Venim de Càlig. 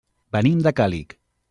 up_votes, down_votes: 3, 0